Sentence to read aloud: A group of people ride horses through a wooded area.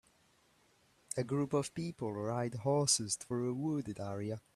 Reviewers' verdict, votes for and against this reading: rejected, 0, 2